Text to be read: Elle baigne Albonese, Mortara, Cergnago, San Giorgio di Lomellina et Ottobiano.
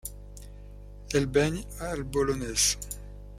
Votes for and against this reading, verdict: 0, 2, rejected